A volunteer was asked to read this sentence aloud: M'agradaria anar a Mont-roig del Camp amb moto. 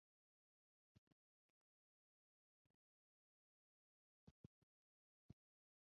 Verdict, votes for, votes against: rejected, 0, 4